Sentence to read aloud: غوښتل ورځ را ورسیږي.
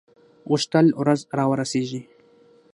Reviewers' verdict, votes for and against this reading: rejected, 3, 6